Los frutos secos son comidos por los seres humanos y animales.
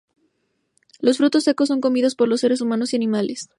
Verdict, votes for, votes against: accepted, 4, 0